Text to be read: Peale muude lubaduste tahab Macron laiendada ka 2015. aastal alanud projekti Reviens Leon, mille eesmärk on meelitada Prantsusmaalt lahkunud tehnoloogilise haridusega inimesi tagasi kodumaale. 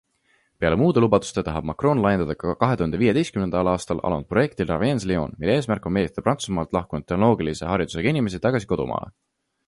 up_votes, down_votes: 0, 2